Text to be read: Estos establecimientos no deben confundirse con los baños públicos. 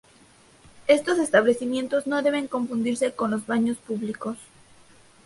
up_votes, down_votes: 0, 2